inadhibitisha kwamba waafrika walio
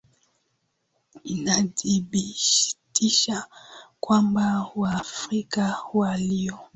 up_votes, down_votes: 3, 1